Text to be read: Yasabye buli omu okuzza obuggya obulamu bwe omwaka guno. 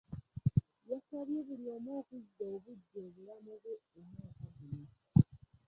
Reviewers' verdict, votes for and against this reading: rejected, 0, 2